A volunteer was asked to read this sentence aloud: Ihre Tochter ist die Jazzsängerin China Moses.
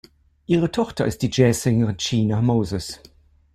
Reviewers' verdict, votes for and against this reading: accepted, 2, 1